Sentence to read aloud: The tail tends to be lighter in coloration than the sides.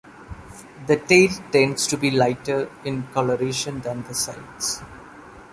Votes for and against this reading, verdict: 2, 0, accepted